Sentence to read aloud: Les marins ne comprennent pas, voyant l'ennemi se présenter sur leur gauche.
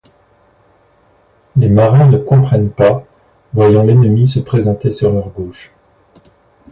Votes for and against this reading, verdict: 1, 2, rejected